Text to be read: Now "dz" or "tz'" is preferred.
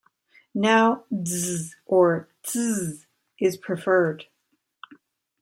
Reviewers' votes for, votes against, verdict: 0, 2, rejected